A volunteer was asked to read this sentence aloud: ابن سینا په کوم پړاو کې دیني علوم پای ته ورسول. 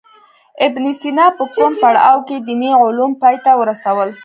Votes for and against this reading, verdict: 1, 2, rejected